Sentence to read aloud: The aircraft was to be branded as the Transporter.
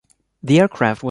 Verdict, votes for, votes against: rejected, 0, 2